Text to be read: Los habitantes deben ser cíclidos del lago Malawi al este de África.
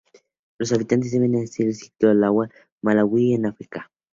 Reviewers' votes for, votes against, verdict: 2, 0, accepted